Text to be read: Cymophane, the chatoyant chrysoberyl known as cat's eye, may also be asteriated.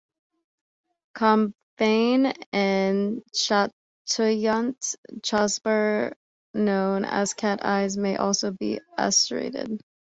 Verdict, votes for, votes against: rejected, 1, 2